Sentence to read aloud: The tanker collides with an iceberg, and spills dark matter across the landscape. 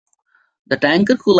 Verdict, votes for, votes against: rejected, 0, 3